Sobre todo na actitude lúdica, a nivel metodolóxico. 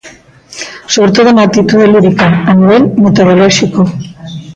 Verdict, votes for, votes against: accepted, 2, 0